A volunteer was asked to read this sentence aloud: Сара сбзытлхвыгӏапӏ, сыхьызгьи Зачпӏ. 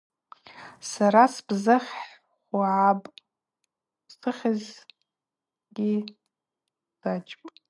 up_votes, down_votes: 0, 2